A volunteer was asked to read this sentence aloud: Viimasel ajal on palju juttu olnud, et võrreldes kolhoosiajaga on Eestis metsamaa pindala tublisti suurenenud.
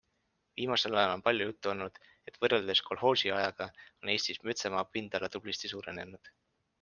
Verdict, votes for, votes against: accepted, 2, 1